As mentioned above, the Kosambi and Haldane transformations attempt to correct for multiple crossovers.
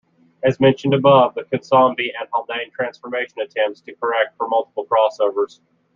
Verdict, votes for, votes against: rejected, 0, 2